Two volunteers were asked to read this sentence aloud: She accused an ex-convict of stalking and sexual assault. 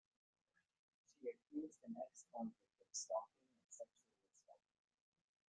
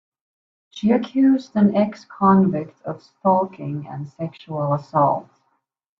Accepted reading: second